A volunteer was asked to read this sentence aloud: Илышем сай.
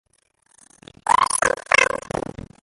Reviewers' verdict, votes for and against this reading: rejected, 0, 2